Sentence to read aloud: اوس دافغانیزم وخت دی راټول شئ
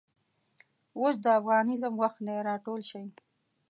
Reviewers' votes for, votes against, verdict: 2, 0, accepted